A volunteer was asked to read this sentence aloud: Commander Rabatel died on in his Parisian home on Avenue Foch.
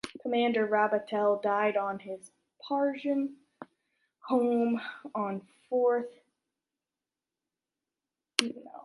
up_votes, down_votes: 0, 2